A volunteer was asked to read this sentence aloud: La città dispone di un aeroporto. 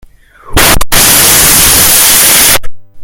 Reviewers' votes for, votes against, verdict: 1, 2, rejected